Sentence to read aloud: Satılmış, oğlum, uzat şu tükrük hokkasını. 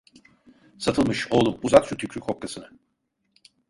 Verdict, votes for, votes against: rejected, 1, 2